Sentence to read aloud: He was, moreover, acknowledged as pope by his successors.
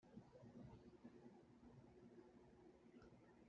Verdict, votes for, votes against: rejected, 0, 2